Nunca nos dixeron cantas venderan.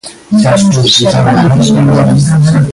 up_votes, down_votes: 1, 2